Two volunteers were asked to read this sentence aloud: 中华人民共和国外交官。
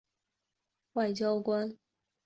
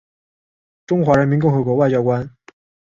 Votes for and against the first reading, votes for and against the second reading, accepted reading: 0, 3, 3, 0, second